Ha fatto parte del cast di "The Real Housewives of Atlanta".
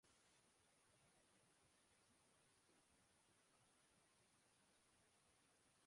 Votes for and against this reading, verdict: 0, 2, rejected